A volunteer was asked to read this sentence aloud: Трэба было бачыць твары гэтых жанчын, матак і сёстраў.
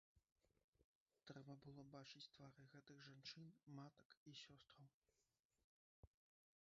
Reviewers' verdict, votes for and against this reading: rejected, 1, 2